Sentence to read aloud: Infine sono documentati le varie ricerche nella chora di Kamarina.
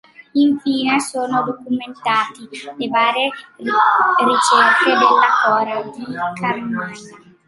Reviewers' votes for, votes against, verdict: 0, 2, rejected